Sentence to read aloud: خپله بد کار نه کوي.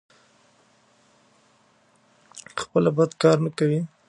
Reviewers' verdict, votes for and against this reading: rejected, 1, 2